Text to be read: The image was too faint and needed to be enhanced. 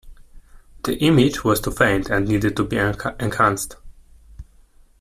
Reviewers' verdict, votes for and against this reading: rejected, 0, 2